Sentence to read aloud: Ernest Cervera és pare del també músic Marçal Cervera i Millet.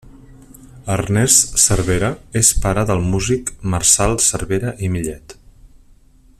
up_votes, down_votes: 0, 2